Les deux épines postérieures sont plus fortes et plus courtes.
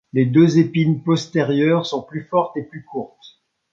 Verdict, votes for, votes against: accepted, 2, 0